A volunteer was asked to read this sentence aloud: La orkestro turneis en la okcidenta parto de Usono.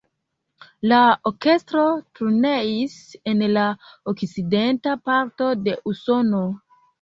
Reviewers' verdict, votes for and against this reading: rejected, 1, 2